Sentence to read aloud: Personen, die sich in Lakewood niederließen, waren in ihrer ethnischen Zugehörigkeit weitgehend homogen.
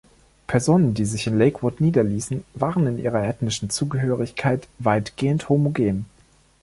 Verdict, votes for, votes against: accepted, 2, 0